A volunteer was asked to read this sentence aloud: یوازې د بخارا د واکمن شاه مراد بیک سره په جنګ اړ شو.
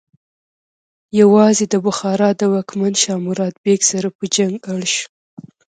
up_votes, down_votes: 2, 1